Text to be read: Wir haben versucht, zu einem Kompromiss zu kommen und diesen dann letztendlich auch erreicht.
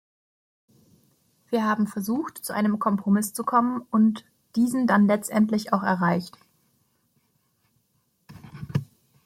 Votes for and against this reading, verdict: 2, 0, accepted